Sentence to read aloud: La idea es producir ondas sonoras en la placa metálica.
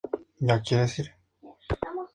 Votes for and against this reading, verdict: 0, 2, rejected